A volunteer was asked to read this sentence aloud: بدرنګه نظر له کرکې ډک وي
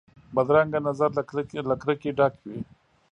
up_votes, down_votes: 1, 2